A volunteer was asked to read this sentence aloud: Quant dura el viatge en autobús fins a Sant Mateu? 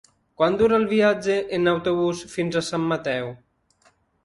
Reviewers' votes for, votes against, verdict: 4, 0, accepted